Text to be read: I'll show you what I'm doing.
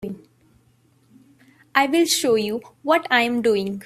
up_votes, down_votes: 0, 2